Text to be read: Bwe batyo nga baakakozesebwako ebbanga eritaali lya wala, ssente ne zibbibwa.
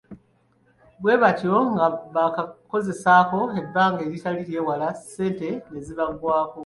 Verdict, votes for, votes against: rejected, 1, 2